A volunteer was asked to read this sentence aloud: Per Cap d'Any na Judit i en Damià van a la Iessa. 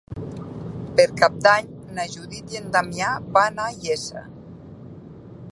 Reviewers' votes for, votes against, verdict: 0, 2, rejected